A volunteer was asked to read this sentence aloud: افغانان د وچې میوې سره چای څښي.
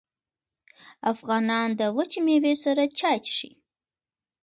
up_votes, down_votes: 3, 1